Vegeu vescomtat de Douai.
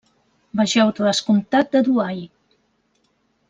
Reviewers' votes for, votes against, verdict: 1, 2, rejected